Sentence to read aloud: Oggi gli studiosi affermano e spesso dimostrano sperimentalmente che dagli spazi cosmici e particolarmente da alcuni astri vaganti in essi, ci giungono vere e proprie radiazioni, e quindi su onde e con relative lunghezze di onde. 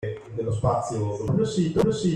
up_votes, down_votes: 0, 2